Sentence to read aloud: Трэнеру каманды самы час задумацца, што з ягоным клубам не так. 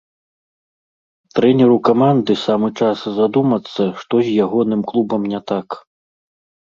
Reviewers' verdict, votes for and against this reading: accepted, 2, 0